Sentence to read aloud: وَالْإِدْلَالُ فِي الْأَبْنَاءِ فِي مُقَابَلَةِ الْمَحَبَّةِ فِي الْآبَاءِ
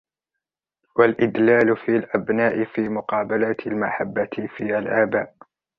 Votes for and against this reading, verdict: 1, 2, rejected